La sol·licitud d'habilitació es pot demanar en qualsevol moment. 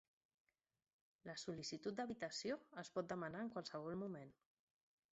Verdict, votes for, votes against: rejected, 1, 2